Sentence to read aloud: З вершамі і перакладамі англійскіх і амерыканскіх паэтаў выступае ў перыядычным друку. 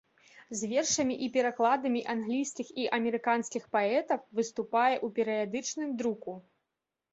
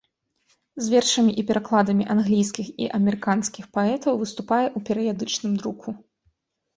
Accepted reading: second